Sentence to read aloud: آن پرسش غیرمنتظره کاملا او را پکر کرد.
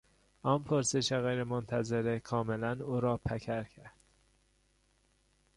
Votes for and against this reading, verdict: 2, 0, accepted